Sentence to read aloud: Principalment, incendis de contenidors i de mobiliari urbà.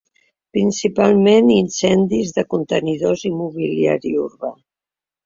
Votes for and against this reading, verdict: 0, 2, rejected